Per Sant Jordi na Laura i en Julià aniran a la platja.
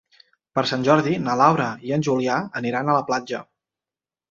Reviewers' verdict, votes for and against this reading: accepted, 4, 0